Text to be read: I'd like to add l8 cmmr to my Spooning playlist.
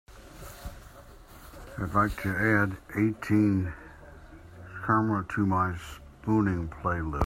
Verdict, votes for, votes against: rejected, 0, 2